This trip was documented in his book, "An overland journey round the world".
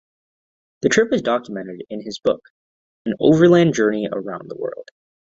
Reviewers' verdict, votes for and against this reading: rejected, 0, 3